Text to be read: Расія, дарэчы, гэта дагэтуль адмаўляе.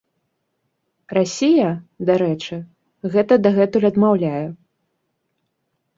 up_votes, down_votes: 2, 0